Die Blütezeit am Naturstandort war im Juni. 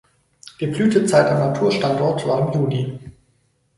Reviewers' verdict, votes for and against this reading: accepted, 4, 2